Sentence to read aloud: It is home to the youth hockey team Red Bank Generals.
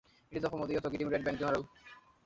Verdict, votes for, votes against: rejected, 0, 2